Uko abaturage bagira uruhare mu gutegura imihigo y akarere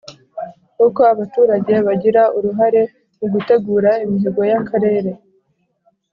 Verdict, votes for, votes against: accepted, 2, 0